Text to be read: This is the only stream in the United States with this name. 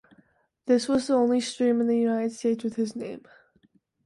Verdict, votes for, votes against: accepted, 2, 0